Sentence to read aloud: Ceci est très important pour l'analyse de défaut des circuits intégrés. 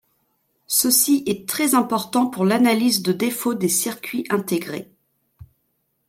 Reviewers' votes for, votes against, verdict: 2, 0, accepted